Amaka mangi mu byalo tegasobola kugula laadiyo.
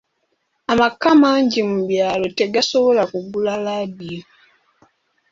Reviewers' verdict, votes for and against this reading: accepted, 2, 1